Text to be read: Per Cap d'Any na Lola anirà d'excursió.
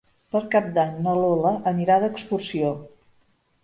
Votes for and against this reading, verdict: 3, 0, accepted